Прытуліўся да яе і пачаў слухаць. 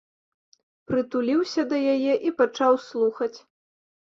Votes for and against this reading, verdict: 2, 0, accepted